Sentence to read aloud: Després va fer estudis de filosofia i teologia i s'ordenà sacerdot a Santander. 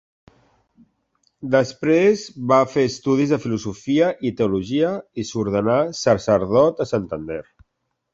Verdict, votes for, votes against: accepted, 2, 0